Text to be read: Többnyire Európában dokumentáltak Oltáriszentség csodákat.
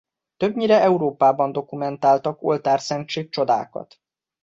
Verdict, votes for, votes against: rejected, 1, 2